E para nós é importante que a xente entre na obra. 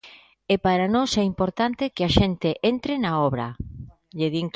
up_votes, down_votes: 0, 2